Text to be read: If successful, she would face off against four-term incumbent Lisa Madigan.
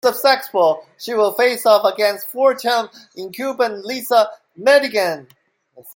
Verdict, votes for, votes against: rejected, 0, 2